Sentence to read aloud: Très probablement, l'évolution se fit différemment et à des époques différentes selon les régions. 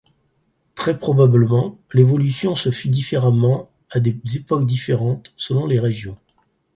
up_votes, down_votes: 2, 4